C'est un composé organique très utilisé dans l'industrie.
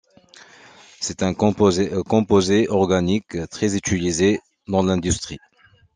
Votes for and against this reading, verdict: 0, 2, rejected